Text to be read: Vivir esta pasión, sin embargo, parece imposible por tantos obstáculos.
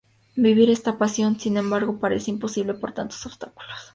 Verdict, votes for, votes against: accepted, 2, 0